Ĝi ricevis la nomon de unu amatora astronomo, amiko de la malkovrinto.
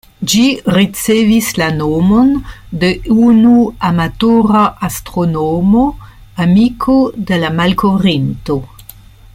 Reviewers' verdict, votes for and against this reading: accepted, 2, 1